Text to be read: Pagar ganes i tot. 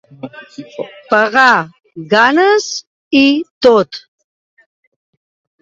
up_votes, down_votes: 2, 0